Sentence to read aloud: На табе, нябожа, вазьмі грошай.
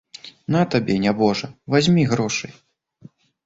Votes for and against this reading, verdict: 2, 0, accepted